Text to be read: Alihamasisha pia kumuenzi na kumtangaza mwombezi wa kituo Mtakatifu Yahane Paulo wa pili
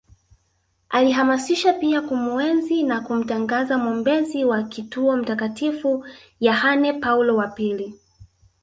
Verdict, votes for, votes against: rejected, 1, 2